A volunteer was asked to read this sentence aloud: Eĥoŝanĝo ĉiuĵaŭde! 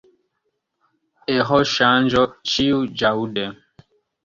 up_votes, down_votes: 2, 0